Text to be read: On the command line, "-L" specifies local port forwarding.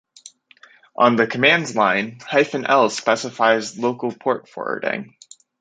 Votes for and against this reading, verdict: 1, 2, rejected